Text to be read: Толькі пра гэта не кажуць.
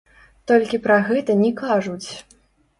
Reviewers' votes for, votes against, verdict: 0, 3, rejected